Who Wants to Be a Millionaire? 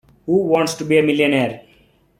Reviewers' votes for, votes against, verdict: 2, 1, accepted